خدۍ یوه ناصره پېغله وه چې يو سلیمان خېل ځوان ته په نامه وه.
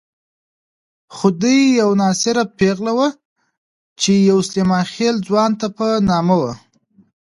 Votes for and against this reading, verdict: 2, 1, accepted